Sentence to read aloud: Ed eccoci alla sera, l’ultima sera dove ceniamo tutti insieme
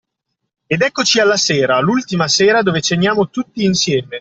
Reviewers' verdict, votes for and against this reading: accepted, 2, 0